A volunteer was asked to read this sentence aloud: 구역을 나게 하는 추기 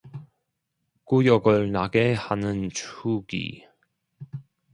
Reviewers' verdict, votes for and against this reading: accepted, 2, 1